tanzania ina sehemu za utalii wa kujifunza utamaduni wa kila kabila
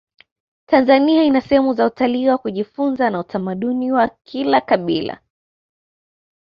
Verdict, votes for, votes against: accepted, 2, 0